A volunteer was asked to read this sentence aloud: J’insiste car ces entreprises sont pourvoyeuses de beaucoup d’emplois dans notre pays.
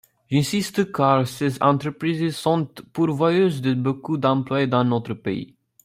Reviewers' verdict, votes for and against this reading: rejected, 0, 2